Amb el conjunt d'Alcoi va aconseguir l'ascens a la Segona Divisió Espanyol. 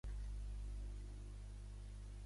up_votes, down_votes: 0, 2